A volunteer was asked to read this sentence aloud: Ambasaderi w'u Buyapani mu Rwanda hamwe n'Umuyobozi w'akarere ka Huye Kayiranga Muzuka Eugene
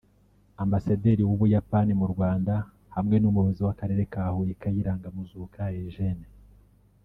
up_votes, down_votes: 4, 1